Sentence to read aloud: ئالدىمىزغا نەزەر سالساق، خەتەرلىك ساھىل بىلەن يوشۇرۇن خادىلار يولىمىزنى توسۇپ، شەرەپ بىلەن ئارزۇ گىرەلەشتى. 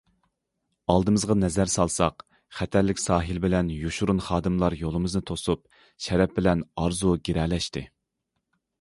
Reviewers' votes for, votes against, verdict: 2, 0, accepted